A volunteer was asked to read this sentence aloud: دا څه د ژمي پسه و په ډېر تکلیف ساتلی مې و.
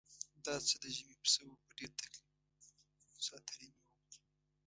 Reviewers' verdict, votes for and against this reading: rejected, 1, 2